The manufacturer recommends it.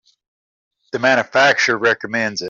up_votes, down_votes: 2, 0